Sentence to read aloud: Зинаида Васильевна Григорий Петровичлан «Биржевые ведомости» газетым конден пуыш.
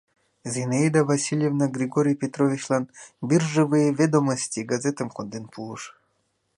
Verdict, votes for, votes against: accepted, 2, 0